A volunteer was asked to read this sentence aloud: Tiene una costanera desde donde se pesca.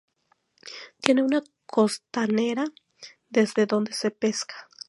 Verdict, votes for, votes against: rejected, 0, 2